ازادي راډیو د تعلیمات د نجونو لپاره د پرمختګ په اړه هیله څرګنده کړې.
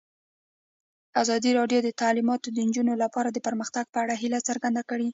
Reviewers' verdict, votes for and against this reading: accepted, 2, 0